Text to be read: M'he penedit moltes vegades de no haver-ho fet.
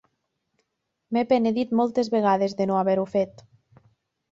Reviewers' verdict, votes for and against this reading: accepted, 5, 0